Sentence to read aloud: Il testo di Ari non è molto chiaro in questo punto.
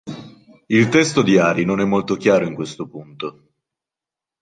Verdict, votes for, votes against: accepted, 2, 0